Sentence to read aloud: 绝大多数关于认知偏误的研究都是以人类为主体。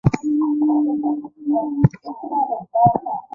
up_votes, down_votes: 1, 2